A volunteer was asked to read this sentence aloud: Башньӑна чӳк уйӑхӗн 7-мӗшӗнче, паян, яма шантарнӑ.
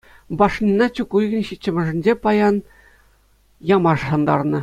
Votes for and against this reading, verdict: 0, 2, rejected